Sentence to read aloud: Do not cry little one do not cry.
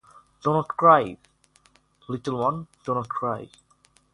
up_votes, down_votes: 6, 0